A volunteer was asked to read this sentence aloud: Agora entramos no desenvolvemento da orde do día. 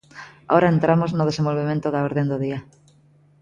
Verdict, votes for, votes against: rejected, 0, 2